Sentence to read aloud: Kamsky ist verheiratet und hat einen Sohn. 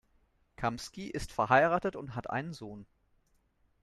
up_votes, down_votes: 2, 0